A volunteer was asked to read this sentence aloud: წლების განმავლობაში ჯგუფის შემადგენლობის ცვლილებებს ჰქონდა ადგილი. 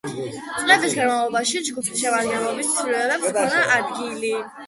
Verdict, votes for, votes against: rejected, 1, 2